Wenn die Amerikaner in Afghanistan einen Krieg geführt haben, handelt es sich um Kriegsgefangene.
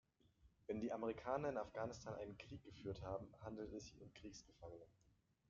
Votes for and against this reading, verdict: 0, 2, rejected